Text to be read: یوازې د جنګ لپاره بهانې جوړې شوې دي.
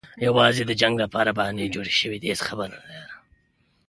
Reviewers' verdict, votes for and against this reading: rejected, 1, 2